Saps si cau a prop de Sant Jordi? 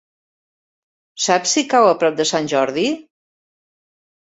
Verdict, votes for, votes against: accepted, 3, 0